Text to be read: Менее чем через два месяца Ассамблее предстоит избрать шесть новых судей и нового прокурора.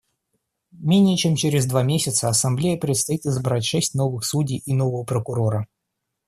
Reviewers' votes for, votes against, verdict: 1, 2, rejected